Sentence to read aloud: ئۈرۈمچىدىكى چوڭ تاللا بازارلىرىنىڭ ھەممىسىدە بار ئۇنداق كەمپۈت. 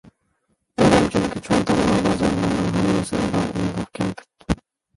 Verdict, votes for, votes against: rejected, 0, 2